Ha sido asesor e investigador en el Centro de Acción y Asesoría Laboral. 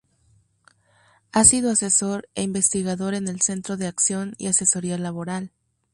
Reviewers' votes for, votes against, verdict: 4, 0, accepted